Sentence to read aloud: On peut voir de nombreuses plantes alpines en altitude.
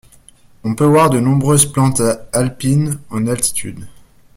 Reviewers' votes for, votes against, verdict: 1, 2, rejected